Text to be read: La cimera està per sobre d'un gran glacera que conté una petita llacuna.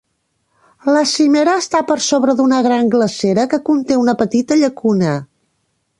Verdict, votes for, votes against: rejected, 0, 2